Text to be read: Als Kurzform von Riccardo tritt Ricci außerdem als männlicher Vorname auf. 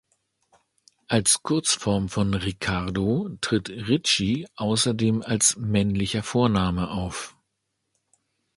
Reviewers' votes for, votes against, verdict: 1, 2, rejected